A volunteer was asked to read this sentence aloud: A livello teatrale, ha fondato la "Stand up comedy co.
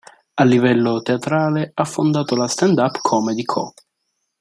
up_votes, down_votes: 2, 0